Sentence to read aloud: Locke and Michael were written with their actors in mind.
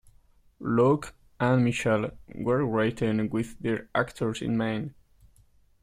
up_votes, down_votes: 0, 2